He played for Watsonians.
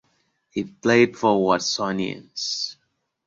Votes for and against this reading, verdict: 2, 0, accepted